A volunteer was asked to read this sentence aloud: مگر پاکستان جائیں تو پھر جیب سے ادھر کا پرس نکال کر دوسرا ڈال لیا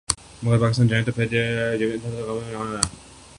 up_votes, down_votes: 0, 2